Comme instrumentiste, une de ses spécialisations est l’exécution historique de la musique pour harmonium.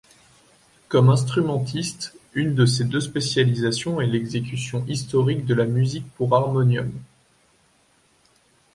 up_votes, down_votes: 0, 2